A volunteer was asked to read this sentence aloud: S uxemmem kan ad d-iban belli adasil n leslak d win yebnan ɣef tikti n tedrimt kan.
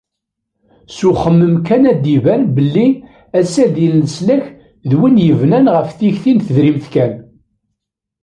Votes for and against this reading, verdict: 1, 2, rejected